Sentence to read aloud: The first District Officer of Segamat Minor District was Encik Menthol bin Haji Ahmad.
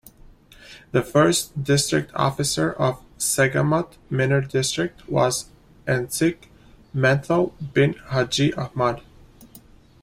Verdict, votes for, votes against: rejected, 0, 2